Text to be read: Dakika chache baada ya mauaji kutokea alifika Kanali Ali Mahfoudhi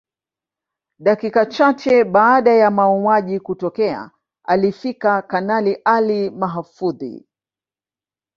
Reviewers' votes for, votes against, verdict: 2, 1, accepted